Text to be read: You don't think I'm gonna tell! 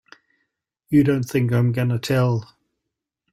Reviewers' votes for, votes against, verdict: 3, 0, accepted